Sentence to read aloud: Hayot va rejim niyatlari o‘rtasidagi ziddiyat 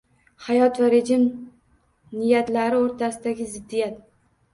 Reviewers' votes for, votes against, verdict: 2, 0, accepted